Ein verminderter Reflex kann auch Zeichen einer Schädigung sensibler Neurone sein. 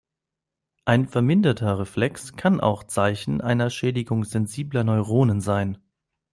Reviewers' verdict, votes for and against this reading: rejected, 1, 2